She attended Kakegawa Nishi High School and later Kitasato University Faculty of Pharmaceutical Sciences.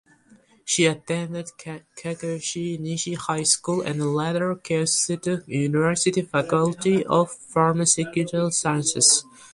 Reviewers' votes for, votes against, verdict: 0, 2, rejected